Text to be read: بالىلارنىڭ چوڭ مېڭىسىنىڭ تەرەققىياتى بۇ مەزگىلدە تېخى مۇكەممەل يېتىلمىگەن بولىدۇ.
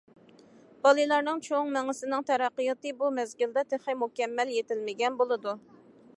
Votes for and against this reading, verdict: 2, 0, accepted